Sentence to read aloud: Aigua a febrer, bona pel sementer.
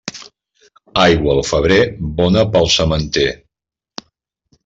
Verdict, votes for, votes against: rejected, 0, 2